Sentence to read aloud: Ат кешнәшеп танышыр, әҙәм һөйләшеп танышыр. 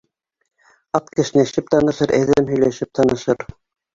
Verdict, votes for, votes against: rejected, 2, 3